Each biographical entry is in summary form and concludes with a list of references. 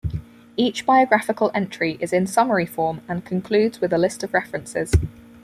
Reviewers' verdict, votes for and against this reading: accepted, 4, 0